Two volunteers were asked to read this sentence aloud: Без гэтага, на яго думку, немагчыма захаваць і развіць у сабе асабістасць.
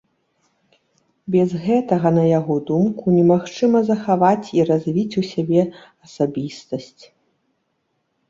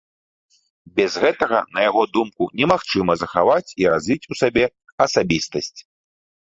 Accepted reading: second